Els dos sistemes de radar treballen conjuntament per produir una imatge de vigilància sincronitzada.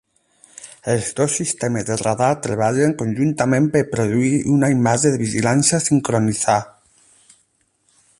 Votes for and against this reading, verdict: 4, 8, rejected